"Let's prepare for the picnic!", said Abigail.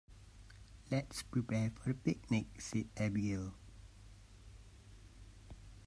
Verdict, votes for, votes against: accepted, 2, 0